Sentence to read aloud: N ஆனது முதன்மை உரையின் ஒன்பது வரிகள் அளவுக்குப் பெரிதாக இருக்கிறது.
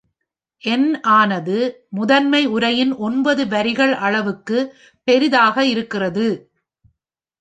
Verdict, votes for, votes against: rejected, 1, 2